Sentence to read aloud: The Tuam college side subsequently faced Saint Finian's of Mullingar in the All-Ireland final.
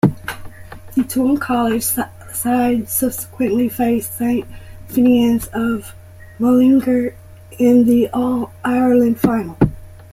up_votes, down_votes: 2, 1